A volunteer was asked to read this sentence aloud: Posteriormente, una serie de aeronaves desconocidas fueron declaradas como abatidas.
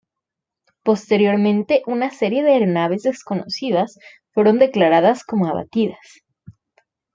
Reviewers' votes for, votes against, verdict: 2, 1, accepted